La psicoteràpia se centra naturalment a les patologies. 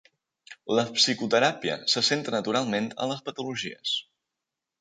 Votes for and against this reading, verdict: 3, 0, accepted